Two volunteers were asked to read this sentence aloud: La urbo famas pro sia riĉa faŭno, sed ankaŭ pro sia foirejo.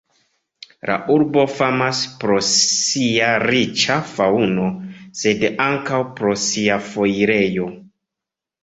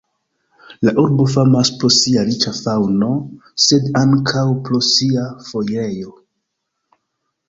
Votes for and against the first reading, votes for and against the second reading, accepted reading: 2, 0, 1, 2, first